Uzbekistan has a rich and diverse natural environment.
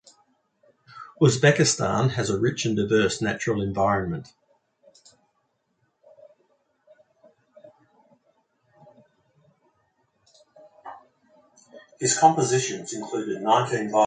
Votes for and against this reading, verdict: 0, 2, rejected